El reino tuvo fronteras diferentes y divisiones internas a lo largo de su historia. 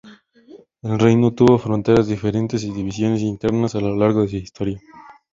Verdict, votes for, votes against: accepted, 2, 0